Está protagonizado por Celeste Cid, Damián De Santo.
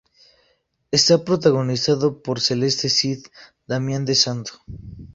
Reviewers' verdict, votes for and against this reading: accepted, 2, 0